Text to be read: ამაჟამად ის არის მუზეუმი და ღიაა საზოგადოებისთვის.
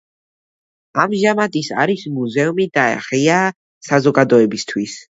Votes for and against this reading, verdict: 2, 1, accepted